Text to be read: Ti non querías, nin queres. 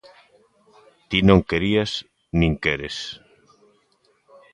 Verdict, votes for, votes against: accepted, 3, 0